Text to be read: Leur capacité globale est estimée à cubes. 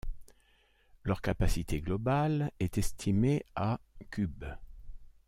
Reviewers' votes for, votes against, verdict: 2, 0, accepted